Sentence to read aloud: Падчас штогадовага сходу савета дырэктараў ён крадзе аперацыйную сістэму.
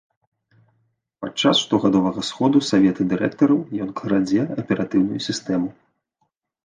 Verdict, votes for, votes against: rejected, 1, 2